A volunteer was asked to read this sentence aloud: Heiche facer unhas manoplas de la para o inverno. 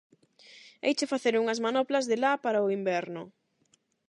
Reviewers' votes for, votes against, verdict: 8, 0, accepted